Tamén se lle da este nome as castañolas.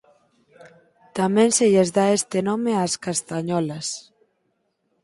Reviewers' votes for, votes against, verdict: 0, 2, rejected